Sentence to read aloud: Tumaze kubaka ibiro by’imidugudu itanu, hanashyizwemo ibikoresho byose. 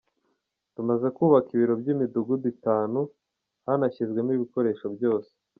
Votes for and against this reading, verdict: 2, 0, accepted